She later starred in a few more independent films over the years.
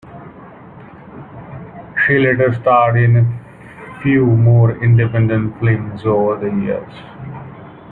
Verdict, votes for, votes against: rejected, 0, 2